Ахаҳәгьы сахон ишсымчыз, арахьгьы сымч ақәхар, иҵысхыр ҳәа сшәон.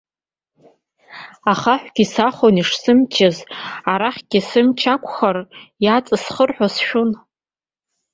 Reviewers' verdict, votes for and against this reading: rejected, 1, 2